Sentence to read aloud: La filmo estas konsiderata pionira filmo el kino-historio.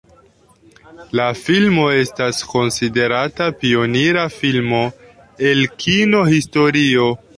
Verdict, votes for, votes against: accepted, 2, 0